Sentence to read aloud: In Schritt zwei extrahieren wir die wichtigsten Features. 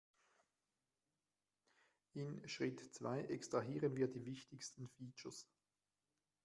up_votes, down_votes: 2, 0